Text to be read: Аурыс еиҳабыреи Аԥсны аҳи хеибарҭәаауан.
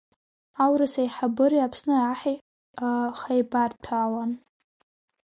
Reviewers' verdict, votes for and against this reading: rejected, 1, 2